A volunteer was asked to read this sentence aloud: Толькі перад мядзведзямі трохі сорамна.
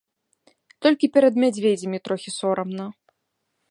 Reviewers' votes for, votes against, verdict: 2, 0, accepted